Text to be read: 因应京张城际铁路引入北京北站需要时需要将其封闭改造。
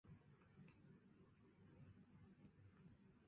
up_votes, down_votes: 2, 3